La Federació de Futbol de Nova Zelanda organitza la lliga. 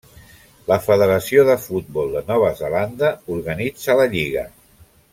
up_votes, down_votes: 1, 2